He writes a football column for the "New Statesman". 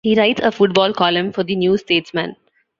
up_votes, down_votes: 0, 2